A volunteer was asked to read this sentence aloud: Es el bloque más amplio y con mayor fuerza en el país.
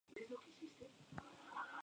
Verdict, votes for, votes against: rejected, 0, 2